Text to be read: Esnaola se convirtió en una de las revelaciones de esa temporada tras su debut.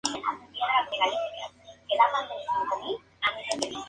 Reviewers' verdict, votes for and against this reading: rejected, 0, 2